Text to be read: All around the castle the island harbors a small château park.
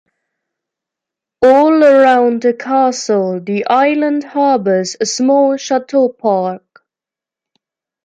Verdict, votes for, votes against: rejected, 0, 2